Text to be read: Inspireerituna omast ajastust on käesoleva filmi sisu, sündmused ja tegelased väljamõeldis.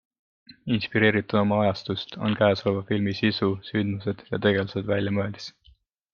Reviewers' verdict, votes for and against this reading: accepted, 2, 0